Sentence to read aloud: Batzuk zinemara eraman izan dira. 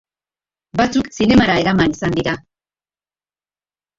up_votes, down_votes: 2, 0